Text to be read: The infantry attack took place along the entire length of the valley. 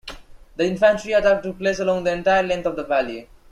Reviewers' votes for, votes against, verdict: 2, 1, accepted